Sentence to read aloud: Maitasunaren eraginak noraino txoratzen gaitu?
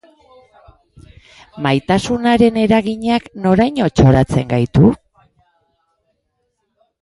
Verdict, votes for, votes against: rejected, 2, 2